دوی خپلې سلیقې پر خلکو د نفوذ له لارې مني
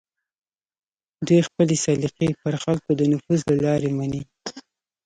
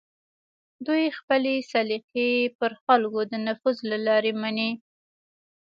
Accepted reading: second